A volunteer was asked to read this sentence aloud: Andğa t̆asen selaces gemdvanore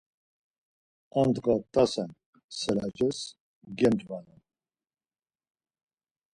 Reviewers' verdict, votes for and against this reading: rejected, 2, 4